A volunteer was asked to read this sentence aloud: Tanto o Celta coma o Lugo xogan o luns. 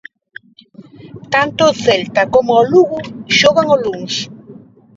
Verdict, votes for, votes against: rejected, 0, 2